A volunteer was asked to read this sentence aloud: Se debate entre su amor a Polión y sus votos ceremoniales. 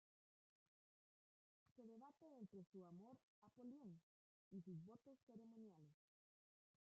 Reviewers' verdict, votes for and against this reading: rejected, 0, 2